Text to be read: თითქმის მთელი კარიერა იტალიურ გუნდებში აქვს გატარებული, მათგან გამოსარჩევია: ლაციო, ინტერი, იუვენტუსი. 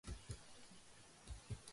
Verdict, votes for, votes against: rejected, 0, 2